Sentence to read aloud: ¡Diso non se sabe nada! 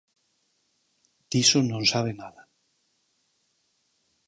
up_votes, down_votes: 0, 4